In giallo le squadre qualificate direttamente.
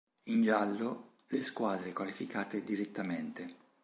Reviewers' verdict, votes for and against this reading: accepted, 2, 0